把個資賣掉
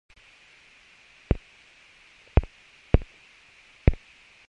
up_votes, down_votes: 0, 2